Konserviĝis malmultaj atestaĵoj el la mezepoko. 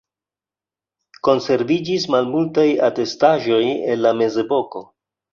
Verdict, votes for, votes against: accepted, 2, 0